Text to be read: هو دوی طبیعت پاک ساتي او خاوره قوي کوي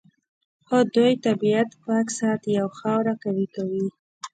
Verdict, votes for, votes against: rejected, 0, 2